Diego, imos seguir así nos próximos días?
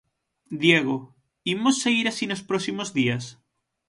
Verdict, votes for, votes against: accepted, 6, 0